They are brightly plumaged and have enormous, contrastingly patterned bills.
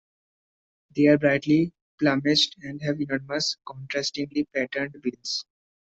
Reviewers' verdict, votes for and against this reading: rejected, 0, 2